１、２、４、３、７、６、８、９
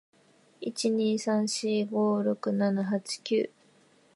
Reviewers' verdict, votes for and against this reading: rejected, 0, 2